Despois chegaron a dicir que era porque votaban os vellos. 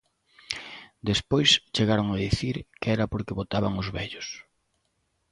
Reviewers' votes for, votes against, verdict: 2, 0, accepted